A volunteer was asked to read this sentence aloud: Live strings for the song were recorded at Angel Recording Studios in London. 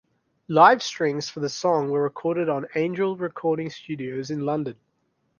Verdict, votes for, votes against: rejected, 1, 2